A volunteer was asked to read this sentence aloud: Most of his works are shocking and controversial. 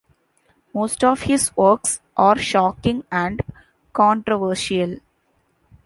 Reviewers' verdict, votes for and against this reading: rejected, 1, 2